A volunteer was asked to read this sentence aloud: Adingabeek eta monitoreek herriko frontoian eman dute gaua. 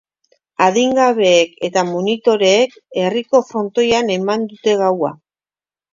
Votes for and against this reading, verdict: 2, 0, accepted